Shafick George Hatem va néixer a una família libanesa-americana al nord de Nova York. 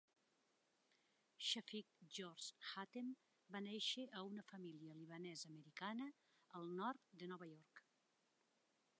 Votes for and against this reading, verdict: 2, 1, accepted